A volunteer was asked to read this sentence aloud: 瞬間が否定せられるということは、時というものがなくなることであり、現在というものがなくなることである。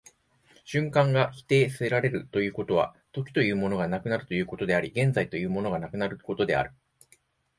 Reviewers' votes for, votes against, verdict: 3, 0, accepted